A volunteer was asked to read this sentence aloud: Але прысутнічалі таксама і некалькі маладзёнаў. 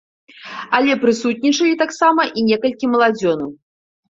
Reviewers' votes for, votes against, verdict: 2, 0, accepted